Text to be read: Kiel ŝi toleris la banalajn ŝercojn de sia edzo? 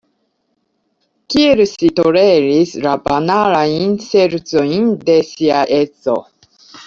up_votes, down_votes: 2, 1